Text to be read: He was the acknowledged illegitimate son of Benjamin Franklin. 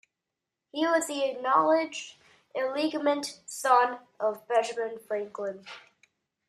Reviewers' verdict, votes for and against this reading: rejected, 0, 2